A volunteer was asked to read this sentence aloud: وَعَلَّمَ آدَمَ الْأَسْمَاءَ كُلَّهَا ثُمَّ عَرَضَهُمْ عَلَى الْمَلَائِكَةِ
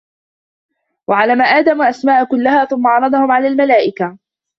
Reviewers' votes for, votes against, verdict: 1, 2, rejected